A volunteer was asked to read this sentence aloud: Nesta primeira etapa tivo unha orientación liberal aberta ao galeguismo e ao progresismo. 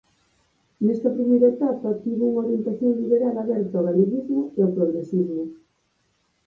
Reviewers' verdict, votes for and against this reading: accepted, 4, 0